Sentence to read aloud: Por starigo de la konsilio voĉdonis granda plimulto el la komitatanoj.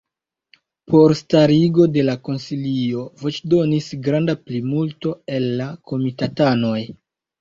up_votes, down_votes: 2, 0